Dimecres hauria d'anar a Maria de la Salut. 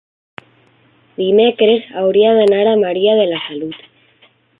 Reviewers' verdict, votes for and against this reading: accepted, 3, 0